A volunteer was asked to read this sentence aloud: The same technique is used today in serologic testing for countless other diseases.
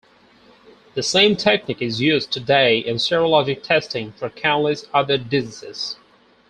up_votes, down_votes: 2, 0